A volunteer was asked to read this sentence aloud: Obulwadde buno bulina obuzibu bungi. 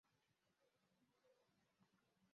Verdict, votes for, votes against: rejected, 0, 2